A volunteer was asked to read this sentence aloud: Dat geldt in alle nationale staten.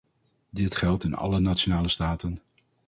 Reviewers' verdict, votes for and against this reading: rejected, 2, 2